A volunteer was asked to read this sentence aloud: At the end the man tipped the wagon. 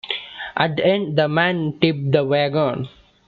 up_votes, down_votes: 2, 0